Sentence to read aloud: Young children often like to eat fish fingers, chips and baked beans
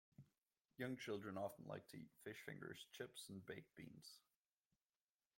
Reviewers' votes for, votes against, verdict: 1, 2, rejected